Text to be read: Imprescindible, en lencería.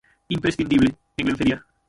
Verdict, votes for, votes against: rejected, 0, 6